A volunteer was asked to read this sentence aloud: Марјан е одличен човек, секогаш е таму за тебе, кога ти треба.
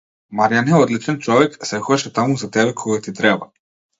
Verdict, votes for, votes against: rejected, 1, 2